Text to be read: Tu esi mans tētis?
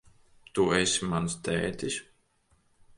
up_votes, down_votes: 2, 0